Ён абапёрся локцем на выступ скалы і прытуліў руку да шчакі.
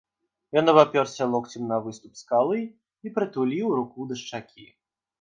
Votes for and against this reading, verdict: 2, 0, accepted